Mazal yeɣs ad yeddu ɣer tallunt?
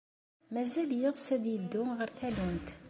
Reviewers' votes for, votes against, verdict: 2, 0, accepted